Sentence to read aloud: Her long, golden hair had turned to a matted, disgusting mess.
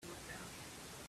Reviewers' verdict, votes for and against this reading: rejected, 0, 2